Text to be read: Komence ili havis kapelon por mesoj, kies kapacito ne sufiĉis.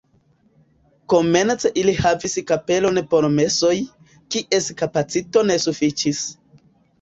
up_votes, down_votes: 0, 2